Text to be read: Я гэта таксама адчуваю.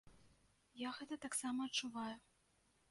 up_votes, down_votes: 0, 2